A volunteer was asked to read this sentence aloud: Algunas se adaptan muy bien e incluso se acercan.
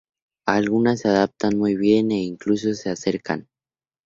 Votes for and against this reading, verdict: 2, 0, accepted